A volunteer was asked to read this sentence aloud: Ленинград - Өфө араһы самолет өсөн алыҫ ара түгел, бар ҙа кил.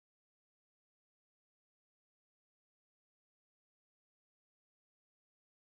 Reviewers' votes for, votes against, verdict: 0, 2, rejected